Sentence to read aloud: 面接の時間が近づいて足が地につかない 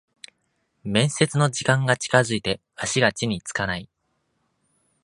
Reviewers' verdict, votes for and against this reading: accepted, 2, 0